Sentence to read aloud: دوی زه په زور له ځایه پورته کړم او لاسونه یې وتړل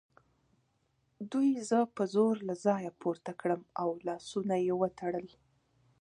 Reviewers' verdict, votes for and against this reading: accepted, 2, 1